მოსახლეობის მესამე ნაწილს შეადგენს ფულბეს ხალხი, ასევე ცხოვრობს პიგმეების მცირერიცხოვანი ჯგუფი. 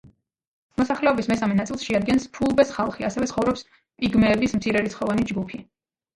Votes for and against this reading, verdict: 2, 3, rejected